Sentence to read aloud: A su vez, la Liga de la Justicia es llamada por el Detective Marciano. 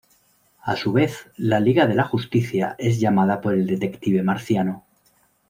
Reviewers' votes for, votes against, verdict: 2, 1, accepted